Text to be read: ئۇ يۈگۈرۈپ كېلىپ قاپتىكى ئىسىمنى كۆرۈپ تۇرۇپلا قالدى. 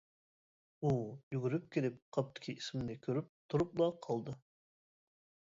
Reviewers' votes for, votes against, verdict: 0, 2, rejected